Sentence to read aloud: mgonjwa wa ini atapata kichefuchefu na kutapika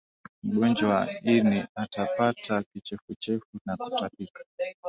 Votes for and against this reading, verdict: 3, 1, accepted